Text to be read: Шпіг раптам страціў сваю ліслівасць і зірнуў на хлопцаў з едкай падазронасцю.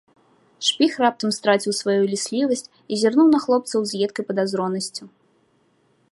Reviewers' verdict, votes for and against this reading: accepted, 2, 0